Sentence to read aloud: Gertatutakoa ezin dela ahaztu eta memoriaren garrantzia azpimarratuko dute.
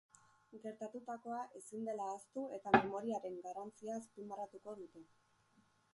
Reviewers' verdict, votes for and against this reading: rejected, 0, 2